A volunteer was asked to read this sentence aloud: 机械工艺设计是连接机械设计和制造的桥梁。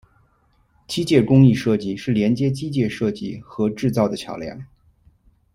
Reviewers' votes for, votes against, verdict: 1, 2, rejected